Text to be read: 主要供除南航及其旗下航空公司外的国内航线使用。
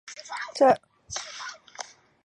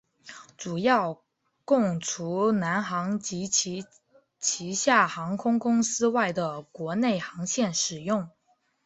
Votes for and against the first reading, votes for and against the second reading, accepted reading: 1, 2, 8, 0, second